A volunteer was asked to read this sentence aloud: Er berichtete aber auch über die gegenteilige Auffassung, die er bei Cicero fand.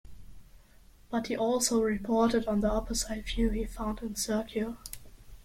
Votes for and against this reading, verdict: 0, 2, rejected